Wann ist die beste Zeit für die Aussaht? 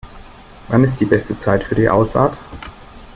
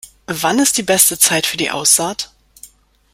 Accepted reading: second